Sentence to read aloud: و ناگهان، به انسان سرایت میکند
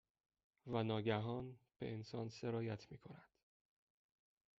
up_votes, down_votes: 2, 0